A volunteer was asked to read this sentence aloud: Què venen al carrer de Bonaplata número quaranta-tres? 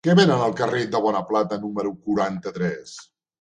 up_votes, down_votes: 2, 0